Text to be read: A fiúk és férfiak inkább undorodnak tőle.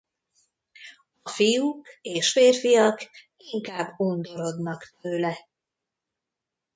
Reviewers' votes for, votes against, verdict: 0, 2, rejected